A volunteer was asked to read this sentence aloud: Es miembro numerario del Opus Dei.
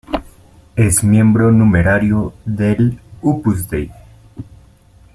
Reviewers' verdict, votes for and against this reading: rejected, 0, 3